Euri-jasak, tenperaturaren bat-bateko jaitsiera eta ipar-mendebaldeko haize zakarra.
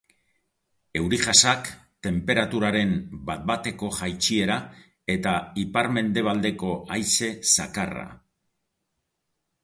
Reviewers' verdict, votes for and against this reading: accepted, 2, 0